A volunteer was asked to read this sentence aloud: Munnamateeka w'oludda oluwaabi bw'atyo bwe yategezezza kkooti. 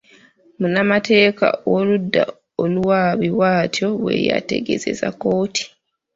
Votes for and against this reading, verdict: 0, 4, rejected